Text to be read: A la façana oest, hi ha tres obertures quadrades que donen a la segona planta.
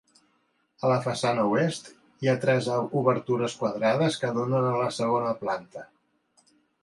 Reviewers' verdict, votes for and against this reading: rejected, 1, 2